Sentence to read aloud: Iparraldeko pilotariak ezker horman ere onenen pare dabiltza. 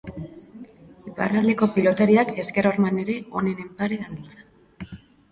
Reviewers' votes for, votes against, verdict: 2, 3, rejected